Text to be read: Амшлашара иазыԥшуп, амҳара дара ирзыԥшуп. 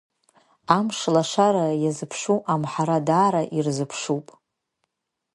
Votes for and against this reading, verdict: 2, 0, accepted